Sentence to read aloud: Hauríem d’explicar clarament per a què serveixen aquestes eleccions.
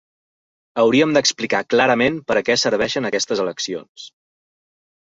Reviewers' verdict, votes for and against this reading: accepted, 3, 0